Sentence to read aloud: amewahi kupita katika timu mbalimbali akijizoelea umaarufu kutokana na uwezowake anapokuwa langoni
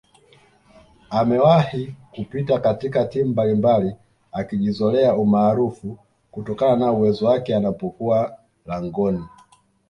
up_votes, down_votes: 2, 0